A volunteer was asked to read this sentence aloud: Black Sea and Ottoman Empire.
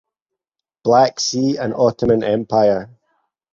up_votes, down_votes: 4, 0